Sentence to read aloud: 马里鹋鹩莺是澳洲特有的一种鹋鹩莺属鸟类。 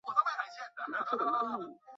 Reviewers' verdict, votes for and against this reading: rejected, 0, 3